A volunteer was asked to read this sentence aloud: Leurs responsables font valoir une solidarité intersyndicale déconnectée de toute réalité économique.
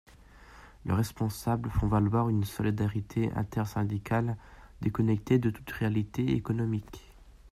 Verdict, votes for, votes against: rejected, 1, 2